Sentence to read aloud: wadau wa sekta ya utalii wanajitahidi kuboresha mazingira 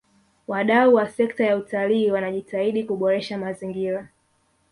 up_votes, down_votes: 0, 2